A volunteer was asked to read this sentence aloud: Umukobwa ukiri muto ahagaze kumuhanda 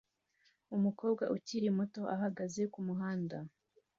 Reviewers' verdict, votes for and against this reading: accepted, 2, 1